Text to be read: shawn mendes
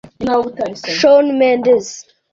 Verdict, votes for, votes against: rejected, 0, 2